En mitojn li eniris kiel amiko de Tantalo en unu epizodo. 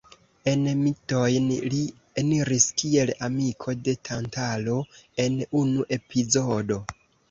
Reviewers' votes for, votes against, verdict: 2, 0, accepted